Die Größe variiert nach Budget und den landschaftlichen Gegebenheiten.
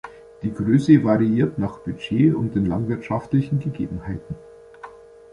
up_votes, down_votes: 1, 2